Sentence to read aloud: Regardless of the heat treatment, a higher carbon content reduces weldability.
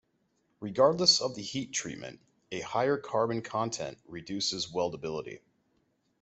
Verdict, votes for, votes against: accepted, 2, 0